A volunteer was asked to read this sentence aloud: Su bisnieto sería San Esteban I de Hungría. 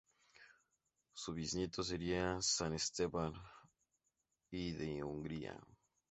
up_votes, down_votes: 0, 2